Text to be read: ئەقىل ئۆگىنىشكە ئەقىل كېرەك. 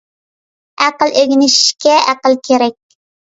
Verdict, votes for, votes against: accepted, 2, 0